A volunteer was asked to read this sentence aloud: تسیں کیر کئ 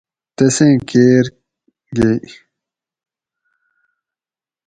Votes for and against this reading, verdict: 2, 2, rejected